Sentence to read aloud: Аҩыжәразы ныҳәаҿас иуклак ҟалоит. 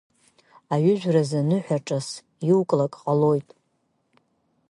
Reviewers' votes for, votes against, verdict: 2, 1, accepted